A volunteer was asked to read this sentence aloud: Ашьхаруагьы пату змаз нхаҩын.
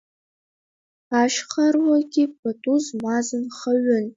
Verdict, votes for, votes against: rejected, 1, 2